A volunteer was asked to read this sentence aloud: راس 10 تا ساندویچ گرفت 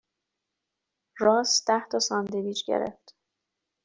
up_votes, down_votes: 0, 2